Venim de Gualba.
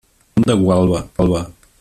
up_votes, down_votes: 0, 2